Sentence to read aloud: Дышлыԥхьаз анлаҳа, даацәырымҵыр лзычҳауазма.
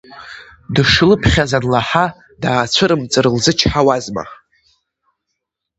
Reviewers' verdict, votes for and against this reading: accepted, 2, 0